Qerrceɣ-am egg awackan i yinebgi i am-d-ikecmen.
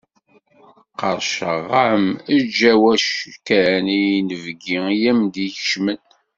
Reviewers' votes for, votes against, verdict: 1, 2, rejected